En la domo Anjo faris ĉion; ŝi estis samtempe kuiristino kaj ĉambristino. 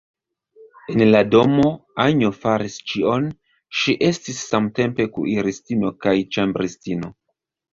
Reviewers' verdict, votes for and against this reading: accepted, 2, 1